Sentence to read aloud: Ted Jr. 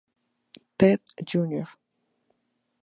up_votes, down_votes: 2, 0